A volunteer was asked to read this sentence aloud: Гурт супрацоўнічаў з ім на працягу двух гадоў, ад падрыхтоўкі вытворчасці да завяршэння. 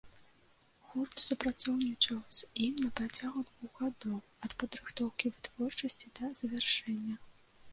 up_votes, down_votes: 1, 2